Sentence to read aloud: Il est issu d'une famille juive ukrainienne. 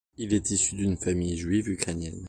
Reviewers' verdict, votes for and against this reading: accepted, 2, 0